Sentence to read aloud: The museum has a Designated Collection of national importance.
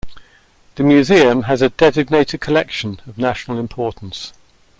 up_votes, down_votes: 2, 0